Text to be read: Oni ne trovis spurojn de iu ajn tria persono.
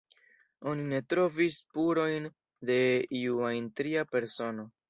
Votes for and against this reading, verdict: 0, 2, rejected